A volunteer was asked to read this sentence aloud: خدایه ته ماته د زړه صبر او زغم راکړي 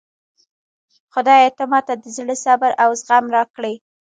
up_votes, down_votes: 0, 2